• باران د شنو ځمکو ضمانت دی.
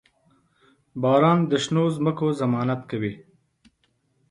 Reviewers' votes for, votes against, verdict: 1, 2, rejected